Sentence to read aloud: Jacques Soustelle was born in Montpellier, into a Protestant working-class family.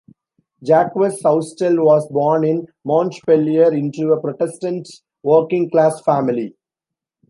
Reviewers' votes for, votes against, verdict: 2, 0, accepted